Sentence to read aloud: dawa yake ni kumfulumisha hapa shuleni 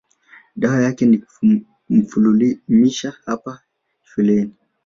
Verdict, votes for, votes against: rejected, 1, 3